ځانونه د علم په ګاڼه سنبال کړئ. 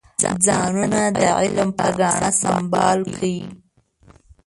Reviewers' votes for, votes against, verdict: 0, 2, rejected